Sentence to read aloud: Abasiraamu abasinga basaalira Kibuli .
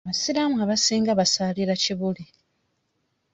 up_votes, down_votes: 2, 0